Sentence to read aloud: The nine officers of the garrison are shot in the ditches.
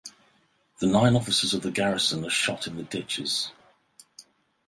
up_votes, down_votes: 4, 0